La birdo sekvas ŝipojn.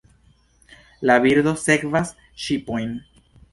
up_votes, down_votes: 0, 2